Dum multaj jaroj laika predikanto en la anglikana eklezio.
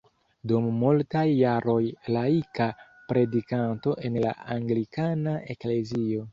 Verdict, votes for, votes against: accepted, 2, 0